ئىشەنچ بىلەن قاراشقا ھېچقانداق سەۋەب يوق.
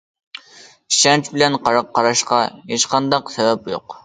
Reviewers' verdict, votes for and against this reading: rejected, 0, 2